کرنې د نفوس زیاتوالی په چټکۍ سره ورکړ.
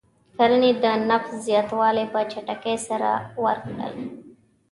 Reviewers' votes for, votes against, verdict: 1, 2, rejected